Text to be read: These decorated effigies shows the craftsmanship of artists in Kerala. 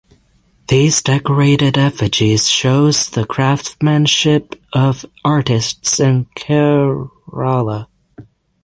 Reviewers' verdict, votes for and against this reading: accepted, 6, 0